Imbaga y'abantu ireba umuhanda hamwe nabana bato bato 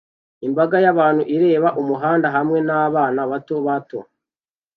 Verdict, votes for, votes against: accepted, 2, 0